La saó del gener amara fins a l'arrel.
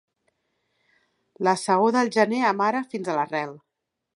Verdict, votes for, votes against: accepted, 2, 0